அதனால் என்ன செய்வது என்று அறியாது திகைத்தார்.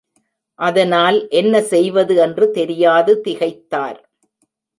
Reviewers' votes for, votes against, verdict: 0, 2, rejected